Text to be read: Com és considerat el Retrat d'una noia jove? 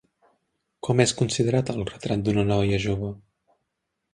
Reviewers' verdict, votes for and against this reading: accepted, 3, 0